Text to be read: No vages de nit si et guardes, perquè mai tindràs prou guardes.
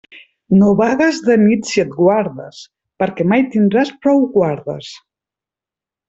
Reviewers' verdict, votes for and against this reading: rejected, 0, 2